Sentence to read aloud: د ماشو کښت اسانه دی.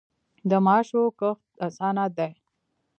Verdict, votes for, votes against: accepted, 2, 0